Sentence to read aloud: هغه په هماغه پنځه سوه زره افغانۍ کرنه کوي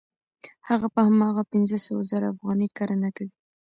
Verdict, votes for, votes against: rejected, 0, 2